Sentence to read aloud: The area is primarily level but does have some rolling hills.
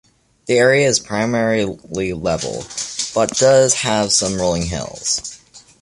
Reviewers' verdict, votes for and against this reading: rejected, 1, 2